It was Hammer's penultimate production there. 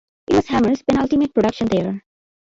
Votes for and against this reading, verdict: 0, 2, rejected